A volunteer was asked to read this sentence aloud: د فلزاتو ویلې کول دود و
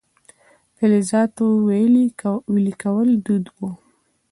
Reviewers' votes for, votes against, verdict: 1, 2, rejected